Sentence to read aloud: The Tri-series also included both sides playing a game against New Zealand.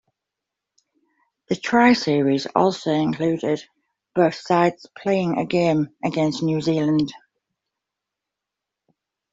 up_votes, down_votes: 2, 0